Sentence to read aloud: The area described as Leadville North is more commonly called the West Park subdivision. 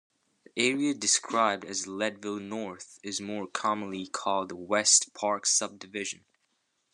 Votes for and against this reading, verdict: 2, 0, accepted